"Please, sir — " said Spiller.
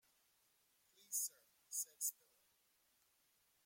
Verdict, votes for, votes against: rejected, 1, 2